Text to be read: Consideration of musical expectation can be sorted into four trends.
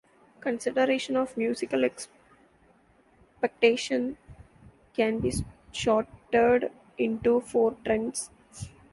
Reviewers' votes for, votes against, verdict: 0, 2, rejected